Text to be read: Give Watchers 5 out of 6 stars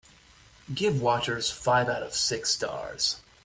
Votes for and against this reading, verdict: 0, 2, rejected